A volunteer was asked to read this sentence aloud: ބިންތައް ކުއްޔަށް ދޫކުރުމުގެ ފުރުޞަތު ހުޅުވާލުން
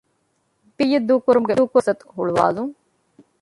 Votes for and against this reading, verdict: 0, 2, rejected